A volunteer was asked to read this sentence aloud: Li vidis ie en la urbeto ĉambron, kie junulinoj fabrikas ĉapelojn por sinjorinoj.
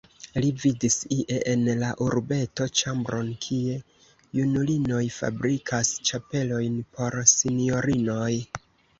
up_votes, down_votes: 2, 0